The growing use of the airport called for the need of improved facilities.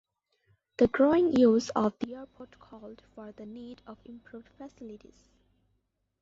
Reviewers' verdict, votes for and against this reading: rejected, 0, 2